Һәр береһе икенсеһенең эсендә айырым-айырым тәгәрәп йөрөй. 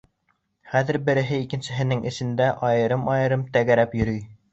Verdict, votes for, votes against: accepted, 2, 0